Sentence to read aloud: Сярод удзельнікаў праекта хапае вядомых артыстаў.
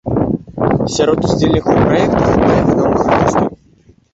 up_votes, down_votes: 0, 2